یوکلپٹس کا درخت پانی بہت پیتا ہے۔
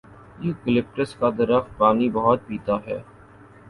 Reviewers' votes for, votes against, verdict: 2, 0, accepted